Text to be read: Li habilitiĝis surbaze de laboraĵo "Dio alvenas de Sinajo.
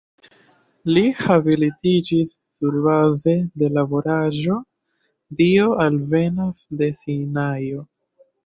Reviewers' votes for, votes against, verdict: 2, 0, accepted